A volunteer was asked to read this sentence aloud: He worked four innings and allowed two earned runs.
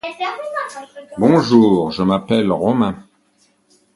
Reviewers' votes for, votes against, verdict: 0, 2, rejected